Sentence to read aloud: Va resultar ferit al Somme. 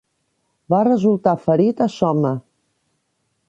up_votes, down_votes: 0, 2